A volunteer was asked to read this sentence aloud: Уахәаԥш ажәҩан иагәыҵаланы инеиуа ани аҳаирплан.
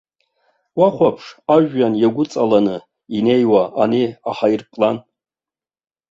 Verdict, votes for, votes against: accepted, 2, 1